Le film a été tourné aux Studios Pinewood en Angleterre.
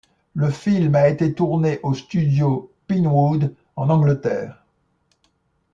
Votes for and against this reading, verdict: 1, 2, rejected